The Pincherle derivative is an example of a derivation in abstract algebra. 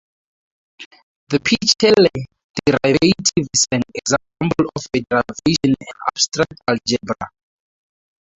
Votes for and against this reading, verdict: 0, 2, rejected